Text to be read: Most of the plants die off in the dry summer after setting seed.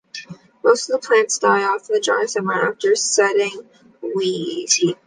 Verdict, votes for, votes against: rejected, 0, 2